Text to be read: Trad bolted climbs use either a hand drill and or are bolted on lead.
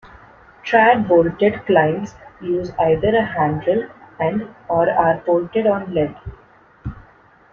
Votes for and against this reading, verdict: 1, 2, rejected